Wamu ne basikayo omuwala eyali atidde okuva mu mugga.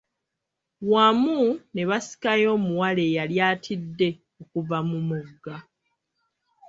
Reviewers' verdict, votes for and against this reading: accepted, 2, 1